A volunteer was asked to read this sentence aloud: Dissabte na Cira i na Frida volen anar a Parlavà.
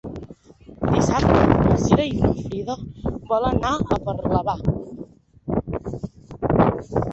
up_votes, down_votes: 1, 2